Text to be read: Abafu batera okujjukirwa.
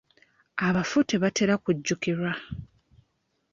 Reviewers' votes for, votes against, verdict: 0, 2, rejected